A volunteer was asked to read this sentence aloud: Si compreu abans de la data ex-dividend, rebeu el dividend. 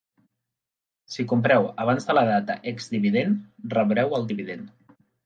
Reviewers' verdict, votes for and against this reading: rejected, 1, 3